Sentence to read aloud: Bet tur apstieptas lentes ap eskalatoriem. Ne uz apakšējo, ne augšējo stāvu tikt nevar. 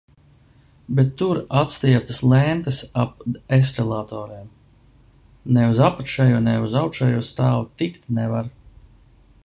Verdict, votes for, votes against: rejected, 1, 2